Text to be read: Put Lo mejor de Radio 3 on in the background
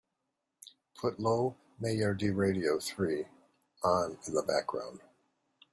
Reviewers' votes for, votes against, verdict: 0, 2, rejected